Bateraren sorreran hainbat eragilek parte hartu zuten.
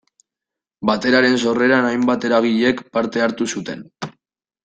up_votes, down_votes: 2, 0